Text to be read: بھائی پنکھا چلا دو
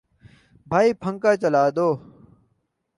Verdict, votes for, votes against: rejected, 0, 2